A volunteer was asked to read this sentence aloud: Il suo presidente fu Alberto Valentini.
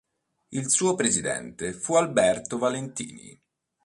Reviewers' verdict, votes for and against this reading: accepted, 3, 0